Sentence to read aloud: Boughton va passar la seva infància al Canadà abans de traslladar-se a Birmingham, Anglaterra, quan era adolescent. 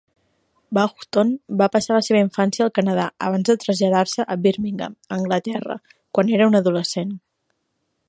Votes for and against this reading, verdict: 0, 2, rejected